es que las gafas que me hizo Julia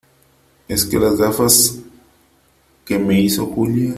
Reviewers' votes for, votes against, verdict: 2, 1, accepted